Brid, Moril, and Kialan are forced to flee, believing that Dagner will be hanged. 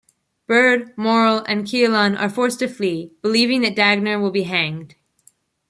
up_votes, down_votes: 1, 2